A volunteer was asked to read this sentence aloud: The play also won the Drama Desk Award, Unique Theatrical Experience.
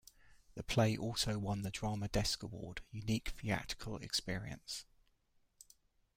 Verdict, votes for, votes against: accepted, 2, 0